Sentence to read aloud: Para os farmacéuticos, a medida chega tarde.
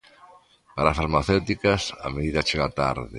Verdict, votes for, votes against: rejected, 0, 2